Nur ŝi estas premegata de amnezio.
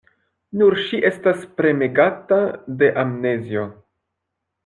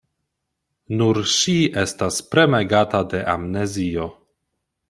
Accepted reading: second